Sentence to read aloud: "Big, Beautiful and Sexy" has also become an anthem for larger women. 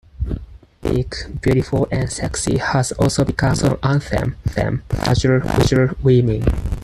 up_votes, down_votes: 0, 4